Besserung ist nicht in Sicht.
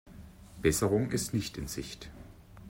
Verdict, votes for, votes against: accepted, 2, 0